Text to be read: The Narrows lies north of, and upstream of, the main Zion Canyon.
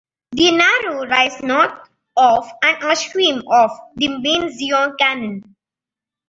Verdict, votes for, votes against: rejected, 2, 4